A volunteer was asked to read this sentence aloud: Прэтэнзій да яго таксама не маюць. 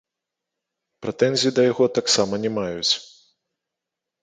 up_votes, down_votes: 1, 2